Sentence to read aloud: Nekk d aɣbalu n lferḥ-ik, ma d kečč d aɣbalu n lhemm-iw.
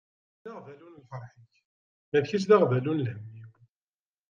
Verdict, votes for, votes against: rejected, 0, 2